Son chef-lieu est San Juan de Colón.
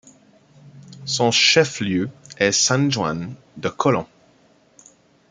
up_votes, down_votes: 1, 2